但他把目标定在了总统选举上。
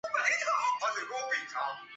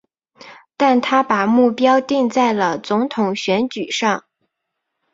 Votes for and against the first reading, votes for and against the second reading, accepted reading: 0, 2, 2, 0, second